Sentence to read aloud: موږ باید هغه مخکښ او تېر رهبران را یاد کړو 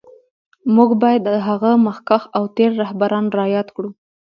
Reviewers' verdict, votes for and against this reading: accepted, 2, 0